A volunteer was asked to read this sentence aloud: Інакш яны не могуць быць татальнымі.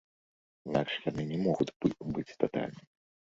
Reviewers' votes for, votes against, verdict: 0, 2, rejected